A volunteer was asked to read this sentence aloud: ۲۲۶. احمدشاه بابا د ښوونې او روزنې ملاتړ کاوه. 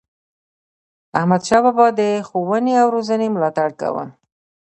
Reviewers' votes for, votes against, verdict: 0, 2, rejected